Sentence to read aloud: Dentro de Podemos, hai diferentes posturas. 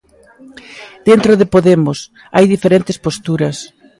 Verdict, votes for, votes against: accepted, 2, 0